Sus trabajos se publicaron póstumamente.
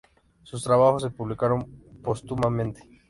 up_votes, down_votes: 3, 0